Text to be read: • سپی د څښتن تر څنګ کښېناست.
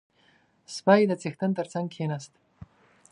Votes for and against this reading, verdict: 3, 1, accepted